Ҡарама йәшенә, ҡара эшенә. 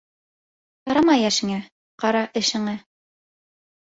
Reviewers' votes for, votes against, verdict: 0, 2, rejected